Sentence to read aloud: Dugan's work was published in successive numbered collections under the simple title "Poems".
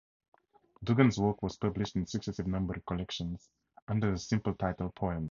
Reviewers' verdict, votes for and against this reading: rejected, 2, 2